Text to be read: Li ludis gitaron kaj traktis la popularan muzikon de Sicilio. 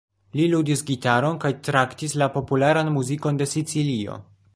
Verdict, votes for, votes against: rejected, 1, 2